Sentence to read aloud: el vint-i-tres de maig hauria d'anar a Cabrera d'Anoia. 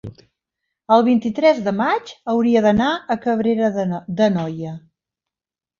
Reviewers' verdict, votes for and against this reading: rejected, 1, 2